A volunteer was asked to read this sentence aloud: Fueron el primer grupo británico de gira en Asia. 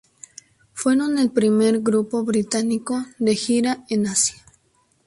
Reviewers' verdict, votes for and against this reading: accepted, 2, 0